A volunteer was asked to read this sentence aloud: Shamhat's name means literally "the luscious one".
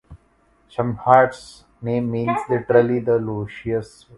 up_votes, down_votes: 0, 2